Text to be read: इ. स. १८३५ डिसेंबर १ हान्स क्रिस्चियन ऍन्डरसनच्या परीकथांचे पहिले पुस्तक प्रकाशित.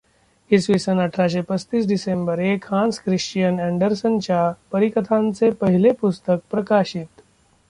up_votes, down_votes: 0, 2